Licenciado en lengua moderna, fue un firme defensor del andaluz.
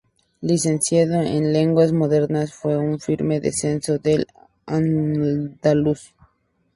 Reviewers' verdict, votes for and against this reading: rejected, 2, 2